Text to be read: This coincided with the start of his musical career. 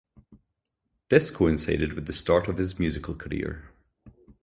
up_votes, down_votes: 0, 2